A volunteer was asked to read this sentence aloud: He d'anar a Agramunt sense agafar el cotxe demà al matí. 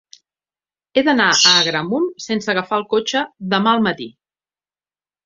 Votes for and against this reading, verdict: 2, 0, accepted